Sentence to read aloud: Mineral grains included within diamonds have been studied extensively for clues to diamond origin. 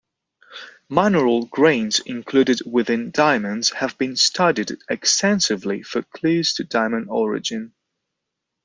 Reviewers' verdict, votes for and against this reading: accepted, 2, 0